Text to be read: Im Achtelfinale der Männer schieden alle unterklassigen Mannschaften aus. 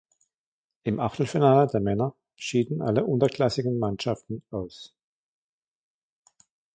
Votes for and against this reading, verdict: 1, 2, rejected